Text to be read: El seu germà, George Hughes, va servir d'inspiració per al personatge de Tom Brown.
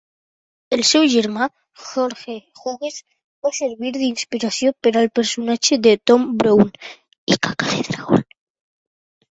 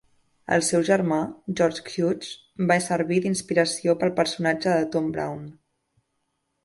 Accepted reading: second